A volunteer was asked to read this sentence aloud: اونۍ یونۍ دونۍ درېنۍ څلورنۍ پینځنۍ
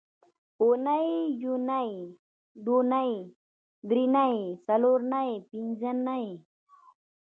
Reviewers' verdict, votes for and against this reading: rejected, 1, 2